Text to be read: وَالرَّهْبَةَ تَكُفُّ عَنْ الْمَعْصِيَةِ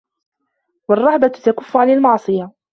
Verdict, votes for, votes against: accepted, 2, 0